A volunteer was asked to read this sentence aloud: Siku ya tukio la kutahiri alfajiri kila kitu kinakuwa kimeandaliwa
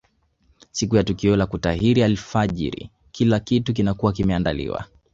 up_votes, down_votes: 0, 2